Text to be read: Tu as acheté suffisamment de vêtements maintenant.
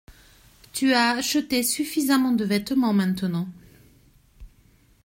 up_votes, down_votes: 2, 0